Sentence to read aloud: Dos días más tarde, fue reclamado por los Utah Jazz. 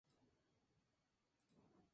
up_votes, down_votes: 0, 4